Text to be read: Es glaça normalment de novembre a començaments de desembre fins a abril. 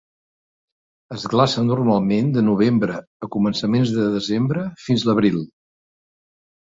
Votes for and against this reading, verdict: 2, 1, accepted